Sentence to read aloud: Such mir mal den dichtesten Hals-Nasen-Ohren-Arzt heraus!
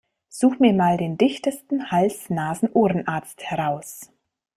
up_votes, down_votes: 2, 0